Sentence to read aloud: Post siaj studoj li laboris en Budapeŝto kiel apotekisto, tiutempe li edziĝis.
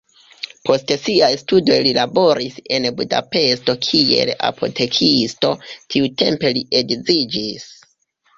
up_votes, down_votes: 0, 2